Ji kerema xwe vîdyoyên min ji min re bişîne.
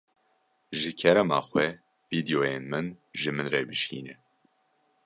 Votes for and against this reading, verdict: 2, 0, accepted